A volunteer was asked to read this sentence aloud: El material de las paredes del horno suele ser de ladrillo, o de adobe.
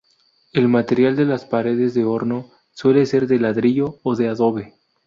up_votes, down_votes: 0, 2